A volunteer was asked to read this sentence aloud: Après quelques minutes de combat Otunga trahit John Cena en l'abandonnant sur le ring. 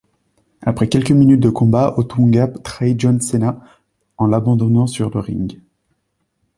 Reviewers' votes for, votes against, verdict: 2, 0, accepted